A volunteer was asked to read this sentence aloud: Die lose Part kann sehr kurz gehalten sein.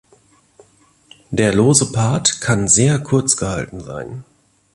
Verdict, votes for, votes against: accepted, 3, 2